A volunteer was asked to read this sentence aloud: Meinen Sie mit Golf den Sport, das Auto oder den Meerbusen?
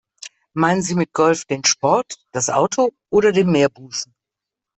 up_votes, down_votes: 2, 0